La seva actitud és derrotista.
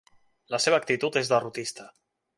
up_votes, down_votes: 3, 0